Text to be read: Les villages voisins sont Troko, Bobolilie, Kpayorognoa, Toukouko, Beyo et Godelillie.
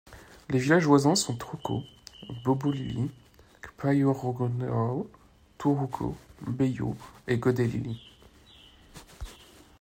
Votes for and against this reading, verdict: 1, 2, rejected